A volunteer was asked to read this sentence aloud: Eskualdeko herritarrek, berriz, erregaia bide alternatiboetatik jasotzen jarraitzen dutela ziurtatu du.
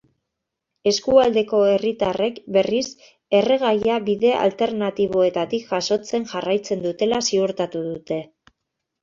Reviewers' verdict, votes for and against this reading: rejected, 1, 2